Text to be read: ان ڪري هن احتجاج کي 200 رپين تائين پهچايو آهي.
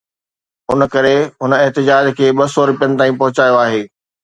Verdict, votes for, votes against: rejected, 0, 2